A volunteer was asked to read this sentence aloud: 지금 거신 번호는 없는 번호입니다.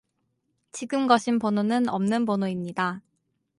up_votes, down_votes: 4, 0